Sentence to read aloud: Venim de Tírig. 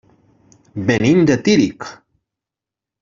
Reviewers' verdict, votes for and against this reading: accepted, 3, 0